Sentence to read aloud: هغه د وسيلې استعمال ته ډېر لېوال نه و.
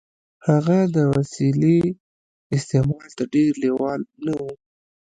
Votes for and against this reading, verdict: 1, 2, rejected